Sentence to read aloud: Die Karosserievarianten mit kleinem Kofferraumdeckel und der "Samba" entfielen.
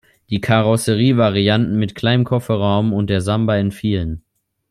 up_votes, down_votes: 0, 2